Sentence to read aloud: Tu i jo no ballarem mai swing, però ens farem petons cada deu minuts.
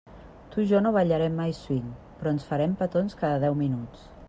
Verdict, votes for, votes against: accepted, 3, 0